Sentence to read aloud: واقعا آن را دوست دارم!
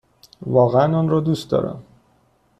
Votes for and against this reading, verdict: 2, 0, accepted